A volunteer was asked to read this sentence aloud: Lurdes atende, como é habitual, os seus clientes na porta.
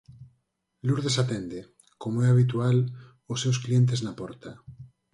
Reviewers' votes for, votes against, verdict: 4, 2, accepted